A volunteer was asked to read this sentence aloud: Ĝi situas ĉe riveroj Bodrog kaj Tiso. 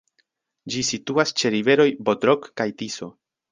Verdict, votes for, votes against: accepted, 2, 0